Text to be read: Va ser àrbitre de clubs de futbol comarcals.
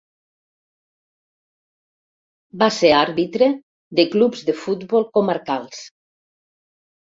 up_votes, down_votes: 1, 2